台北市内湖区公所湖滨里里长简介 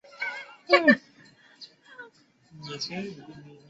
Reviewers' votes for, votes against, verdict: 2, 8, rejected